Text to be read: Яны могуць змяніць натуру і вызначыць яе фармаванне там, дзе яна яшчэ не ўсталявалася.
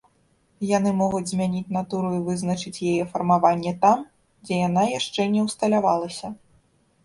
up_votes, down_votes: 2, 0